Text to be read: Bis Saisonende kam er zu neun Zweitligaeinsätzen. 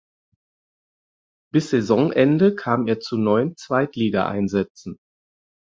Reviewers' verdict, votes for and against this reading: accepted, 4, 0